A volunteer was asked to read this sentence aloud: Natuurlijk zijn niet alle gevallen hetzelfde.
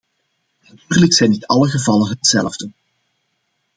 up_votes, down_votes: 2, 0